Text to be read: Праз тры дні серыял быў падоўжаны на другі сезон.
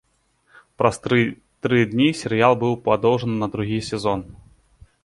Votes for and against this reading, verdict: 0, 2, rejected